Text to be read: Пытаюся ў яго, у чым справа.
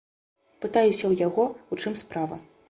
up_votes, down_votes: 2, 0